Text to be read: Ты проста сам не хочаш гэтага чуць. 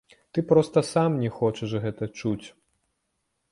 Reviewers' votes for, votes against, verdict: 0, 2, rejected